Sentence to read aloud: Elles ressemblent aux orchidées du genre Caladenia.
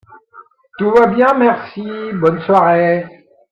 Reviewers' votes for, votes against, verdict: 0, 3, rejected